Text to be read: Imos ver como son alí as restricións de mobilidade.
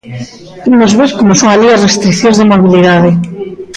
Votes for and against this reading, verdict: 2, 0, accepted